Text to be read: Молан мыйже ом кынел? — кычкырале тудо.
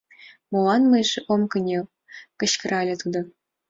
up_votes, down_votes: 2, 0